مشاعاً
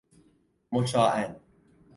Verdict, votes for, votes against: accepted, 2, 0